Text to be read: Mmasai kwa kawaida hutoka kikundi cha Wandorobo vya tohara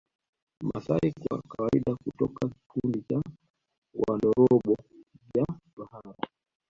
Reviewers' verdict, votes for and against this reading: accepted, 2, 1